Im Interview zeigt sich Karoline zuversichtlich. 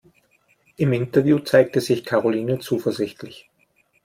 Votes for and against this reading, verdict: 0, 2, rejected